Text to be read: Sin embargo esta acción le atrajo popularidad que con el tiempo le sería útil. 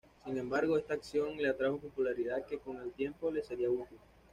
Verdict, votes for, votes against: accepted, 2, 0